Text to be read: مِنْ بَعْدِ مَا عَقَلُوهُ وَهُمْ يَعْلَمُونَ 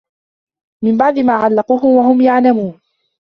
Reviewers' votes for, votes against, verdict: 1, 2, rejected